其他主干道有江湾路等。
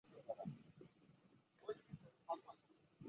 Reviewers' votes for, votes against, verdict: 1, 3, rejected